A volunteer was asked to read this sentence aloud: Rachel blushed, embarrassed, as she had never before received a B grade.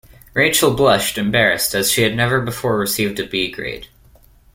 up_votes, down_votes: 2, 0